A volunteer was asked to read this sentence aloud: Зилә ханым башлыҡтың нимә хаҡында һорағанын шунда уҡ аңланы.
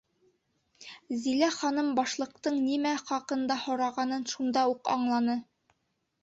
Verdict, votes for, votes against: accepted, 2, 0